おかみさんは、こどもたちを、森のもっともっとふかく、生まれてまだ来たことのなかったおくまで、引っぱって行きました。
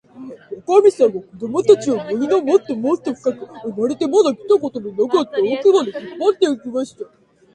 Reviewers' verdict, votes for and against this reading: rejected, 2, 3